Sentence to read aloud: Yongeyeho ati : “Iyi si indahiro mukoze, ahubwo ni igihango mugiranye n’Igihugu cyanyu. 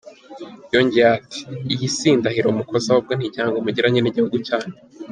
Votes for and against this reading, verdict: 1, 2, rejected